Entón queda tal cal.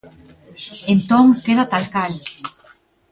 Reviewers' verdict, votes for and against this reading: rejected, 1, 2